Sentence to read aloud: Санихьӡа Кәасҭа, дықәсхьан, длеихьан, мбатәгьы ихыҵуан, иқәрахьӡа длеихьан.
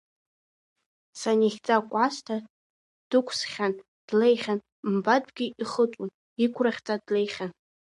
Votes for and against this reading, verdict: 1, 2, rejected